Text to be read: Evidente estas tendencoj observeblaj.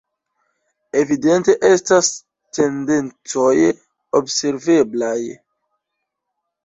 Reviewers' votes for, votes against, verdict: 0, 2, rejected